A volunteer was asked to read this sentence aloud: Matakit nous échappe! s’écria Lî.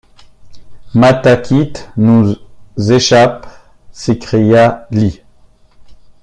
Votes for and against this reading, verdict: 1, 2, rejected